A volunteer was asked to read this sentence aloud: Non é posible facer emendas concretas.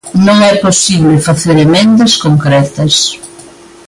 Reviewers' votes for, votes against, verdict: 2, 0, accepted